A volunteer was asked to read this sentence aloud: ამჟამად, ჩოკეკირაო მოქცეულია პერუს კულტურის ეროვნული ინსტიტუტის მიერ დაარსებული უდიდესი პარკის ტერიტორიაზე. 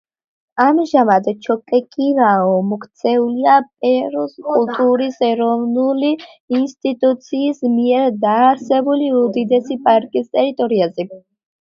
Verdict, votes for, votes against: accepted, 2, 1